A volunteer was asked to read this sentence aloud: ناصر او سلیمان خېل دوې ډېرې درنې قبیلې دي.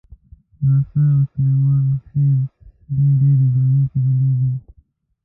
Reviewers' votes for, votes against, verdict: 0, 2, rejected